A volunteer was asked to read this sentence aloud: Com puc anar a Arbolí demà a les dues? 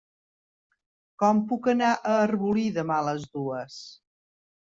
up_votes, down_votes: 3, 0